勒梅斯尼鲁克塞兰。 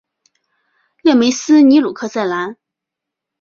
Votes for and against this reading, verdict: 2, 0, accepted